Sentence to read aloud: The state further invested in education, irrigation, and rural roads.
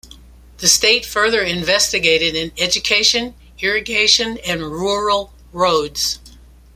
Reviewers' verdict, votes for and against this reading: rejected, 0, 2